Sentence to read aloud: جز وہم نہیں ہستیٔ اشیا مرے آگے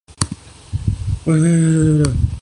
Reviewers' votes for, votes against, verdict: 0, 2, rejected